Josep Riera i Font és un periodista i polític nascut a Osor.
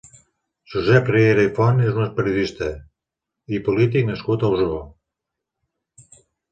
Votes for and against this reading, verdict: 1, 2, rejected